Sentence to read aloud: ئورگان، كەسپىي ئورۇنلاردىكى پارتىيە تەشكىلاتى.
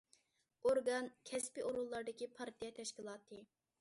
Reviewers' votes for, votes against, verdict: 2, 0, accepted